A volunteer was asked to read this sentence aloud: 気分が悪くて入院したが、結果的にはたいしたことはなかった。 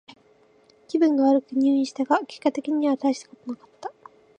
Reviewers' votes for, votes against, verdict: 2, 0, accepted